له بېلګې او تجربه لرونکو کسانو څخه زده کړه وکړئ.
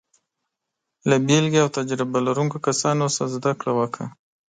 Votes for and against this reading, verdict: 1, 2, rejected